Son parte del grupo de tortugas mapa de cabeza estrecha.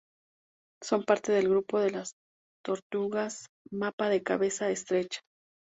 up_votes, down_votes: 0, 2